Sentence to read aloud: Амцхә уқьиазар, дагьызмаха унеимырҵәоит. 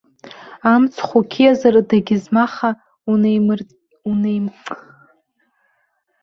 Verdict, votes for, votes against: rejected, 0, 2